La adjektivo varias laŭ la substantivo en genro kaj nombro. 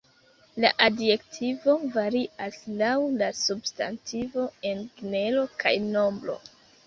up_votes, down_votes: 1, 2